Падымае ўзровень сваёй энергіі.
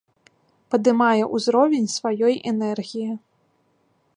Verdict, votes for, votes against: rejected, 1, 2